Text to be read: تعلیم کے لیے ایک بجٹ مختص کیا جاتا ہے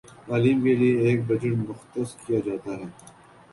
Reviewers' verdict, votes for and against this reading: accepted, 4, 0